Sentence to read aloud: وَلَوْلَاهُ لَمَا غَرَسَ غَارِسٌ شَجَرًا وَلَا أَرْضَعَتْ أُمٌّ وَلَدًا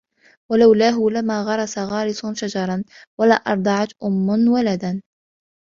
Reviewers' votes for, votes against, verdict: 2, 0, accepted